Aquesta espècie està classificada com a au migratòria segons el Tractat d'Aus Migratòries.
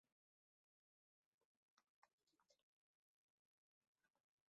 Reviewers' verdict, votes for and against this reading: rejected, 1, 2